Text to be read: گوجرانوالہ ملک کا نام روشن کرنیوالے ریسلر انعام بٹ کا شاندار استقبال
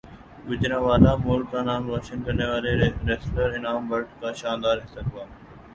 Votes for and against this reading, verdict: 0, 3, rejected